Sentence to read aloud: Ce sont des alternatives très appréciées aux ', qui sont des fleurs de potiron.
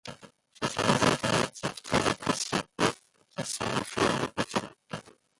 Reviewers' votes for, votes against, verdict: 0, 2, rejected